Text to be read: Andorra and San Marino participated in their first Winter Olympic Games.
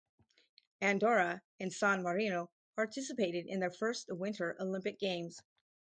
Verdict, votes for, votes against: accepted, 4, 0